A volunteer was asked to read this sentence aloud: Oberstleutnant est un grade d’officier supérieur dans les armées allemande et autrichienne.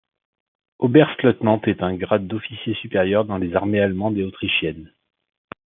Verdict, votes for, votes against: accepted, 2, 0